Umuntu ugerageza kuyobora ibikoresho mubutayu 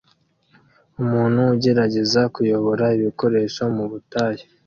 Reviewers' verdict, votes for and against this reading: accepted, 2, 0